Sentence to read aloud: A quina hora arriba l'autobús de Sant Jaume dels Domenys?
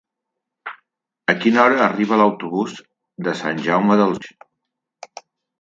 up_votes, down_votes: 0, 2